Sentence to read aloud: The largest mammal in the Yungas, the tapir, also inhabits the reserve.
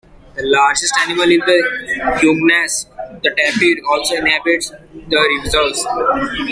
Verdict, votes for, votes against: rejected, 0, 2